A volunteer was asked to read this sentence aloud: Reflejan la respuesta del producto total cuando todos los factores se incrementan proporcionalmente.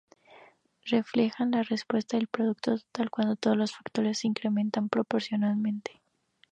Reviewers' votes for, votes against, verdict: 0, 2, rejected